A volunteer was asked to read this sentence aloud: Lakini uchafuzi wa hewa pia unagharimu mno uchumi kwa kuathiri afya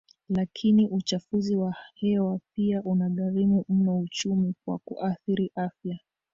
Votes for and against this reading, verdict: 0, 2, rejected